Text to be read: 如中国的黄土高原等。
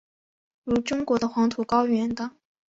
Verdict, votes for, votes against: accepted, 4, 0